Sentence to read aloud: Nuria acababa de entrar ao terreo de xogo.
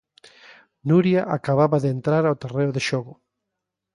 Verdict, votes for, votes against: accepted, 2, 0